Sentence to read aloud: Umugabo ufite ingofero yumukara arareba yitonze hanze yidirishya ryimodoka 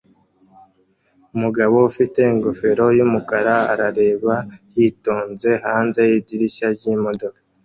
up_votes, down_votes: 2, 0